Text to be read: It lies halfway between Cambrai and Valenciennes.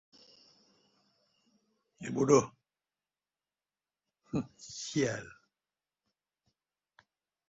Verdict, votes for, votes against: rejected, 0, 2